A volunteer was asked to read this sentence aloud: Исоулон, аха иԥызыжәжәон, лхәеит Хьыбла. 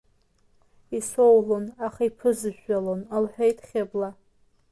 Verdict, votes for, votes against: rejected, 0, 2